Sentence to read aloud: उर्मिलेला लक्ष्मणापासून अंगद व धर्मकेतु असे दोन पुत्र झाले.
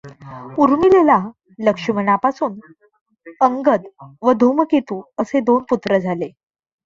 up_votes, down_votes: 0, 2